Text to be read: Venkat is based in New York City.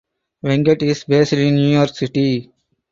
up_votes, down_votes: 4, 0